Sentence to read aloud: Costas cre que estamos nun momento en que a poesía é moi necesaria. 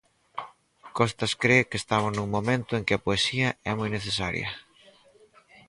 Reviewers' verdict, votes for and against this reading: rejected, 2, 2